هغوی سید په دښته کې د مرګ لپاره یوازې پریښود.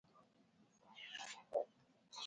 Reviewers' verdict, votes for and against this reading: rejected, 1, 2